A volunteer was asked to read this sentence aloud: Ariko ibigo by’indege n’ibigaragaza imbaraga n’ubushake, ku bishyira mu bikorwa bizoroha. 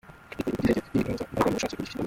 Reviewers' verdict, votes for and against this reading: rejected, 0, 2